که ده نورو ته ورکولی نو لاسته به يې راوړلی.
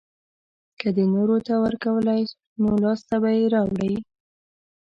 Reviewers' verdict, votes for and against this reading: rejected, 0, 2